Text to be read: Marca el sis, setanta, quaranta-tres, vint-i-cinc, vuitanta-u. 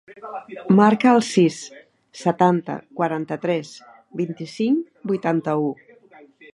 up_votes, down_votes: 0, 2